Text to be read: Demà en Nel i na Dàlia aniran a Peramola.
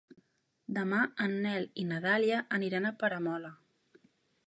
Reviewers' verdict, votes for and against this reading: accepted, 3, 0